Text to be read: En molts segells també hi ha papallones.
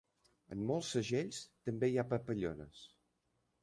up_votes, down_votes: 3, 0